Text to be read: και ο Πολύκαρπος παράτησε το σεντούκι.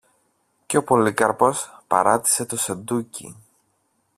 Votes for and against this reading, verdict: 2, 0, accepted